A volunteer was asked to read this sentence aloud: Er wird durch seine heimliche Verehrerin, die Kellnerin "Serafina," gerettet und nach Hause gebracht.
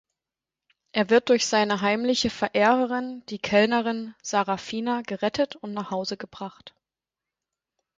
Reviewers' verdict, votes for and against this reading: rejected, 2, 4